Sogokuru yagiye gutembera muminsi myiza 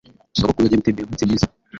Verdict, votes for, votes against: rejected, 1, 2